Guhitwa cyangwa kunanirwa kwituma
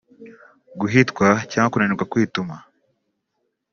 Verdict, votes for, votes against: accepted, 2, 1